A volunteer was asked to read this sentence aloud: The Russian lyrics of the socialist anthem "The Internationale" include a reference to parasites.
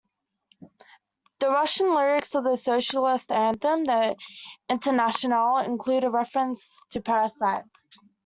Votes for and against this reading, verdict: 3, 2, accepted